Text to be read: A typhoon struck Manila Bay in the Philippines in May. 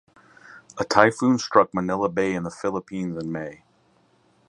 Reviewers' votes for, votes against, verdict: 4, 0, accepted